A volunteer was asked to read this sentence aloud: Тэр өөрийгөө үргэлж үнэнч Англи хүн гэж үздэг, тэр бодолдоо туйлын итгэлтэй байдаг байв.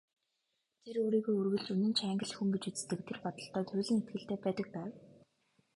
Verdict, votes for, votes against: rejected, 1, 2